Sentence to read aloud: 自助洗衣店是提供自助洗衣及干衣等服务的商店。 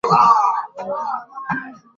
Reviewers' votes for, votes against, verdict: 0, 2, rejected